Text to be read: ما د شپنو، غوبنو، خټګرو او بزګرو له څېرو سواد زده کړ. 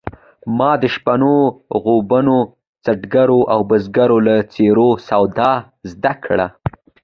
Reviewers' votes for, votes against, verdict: 2, 1, accepted